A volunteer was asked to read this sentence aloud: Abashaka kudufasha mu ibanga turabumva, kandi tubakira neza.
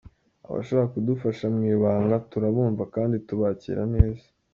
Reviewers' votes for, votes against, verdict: 2, 0, accepted